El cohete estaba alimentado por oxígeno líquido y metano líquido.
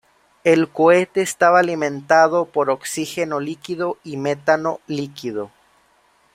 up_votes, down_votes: 2, 1